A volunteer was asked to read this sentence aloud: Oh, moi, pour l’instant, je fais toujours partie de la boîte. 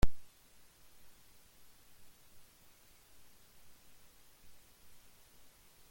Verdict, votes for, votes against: rejected, 0, 2